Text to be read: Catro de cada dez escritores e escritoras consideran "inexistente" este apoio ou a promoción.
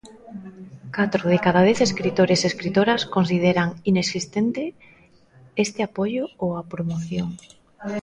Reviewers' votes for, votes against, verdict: 1, 2, rejected